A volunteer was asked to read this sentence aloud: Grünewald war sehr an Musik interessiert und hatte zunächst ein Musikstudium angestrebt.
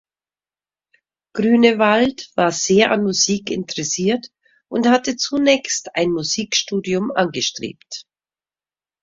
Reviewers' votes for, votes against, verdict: 2, 0, accepted